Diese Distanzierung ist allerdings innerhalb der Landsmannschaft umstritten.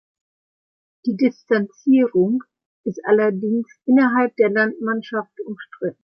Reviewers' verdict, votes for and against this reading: rejected, 0, 2